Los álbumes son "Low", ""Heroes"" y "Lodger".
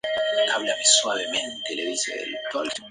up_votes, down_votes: 0, 2